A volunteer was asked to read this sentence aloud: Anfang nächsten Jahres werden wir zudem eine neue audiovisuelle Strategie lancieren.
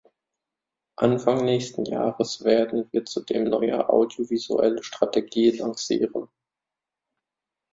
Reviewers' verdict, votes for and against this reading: rejected, 0, 2